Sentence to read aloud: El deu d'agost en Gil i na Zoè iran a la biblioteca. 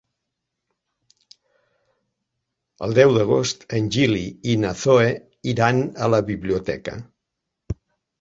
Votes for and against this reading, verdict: 2, 0, accepted